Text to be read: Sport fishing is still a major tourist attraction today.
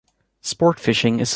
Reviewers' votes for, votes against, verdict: 0, 2, rejected